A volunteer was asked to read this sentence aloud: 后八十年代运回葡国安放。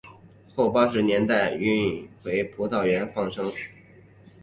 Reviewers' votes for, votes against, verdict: 0, 2, rejected